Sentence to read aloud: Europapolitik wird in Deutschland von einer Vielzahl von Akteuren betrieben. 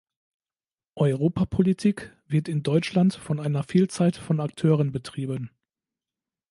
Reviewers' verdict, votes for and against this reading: rejected, 1, 2